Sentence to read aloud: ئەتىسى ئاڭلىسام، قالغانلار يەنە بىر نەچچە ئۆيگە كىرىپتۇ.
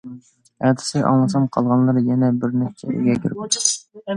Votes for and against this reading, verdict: 0, 2, rejected